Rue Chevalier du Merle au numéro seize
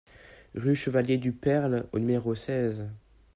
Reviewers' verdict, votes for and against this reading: rejected, 0, 2